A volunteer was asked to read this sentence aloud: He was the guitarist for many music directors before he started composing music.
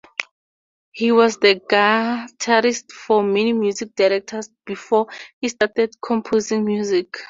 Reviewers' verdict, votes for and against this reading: rejected, 0, 4